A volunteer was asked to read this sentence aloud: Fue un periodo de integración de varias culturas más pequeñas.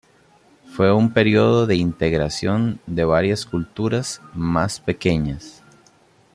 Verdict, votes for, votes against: accepted, 2, 0